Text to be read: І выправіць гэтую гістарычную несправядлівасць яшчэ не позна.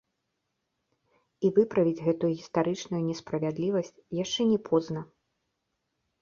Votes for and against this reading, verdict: 2, 1, accepted